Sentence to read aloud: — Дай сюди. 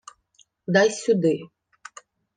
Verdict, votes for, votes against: accepted, 2, 0